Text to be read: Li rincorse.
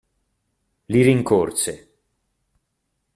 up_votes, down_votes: 2, 0